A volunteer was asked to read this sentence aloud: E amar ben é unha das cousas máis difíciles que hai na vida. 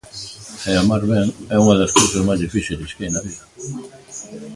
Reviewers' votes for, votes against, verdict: 2, 1, accepted